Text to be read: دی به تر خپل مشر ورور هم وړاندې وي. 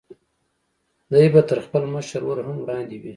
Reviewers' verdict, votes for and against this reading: accepted, 2, 0